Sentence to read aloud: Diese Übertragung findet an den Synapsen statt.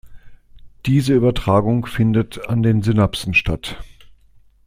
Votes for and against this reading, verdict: 2, 0, accepted